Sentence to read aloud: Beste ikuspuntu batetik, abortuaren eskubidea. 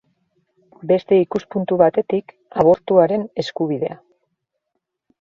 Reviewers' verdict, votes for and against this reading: rejected, 1, 2